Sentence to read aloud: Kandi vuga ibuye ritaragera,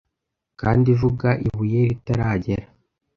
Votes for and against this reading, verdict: 1, 2, rejected